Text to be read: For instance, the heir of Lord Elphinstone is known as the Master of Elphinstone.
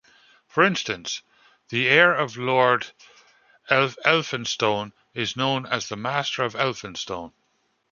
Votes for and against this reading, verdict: 0, 2, rejected